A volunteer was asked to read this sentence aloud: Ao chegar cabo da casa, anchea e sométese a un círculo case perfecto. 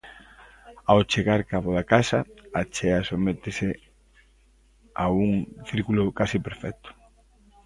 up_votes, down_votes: 0, 2